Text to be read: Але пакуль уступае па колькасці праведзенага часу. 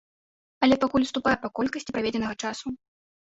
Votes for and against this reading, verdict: 0, 2, rejected